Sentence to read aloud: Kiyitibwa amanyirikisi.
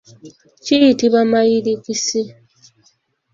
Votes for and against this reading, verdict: 1, 2, rejected